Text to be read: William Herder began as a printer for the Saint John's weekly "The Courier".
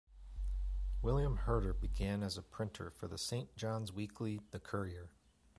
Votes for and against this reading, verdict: 2, 0, accepted